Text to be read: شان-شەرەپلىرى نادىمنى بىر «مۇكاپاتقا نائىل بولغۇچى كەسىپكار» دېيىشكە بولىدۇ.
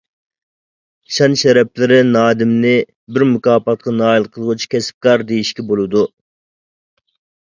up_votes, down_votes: 0, 2